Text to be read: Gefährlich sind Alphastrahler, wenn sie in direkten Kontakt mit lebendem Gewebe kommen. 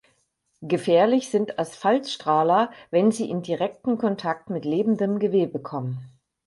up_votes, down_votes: 0, 4